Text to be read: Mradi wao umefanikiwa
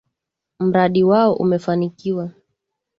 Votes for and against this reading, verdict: 6, 0, accepted